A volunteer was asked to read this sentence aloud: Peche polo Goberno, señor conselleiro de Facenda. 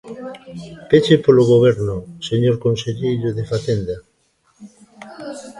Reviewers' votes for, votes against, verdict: 1, 2, rejected